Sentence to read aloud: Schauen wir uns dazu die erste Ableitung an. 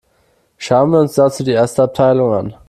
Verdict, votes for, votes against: rejected, 0, 2